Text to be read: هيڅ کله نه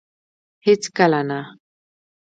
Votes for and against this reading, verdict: 1, 2, rejected